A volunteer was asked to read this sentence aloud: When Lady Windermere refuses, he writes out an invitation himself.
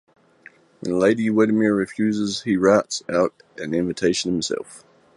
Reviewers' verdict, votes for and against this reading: accepted, 2, 0